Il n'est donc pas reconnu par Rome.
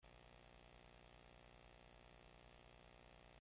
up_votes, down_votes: 0, 2